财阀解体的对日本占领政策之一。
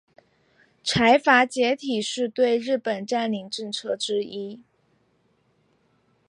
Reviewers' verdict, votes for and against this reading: rejected, 1, 3